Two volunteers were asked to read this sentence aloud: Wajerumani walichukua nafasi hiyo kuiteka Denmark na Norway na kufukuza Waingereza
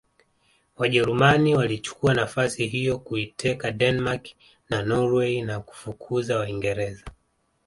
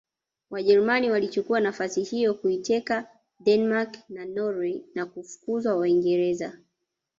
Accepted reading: first